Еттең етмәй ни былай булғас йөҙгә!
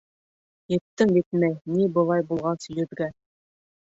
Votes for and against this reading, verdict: 1, 2, rejected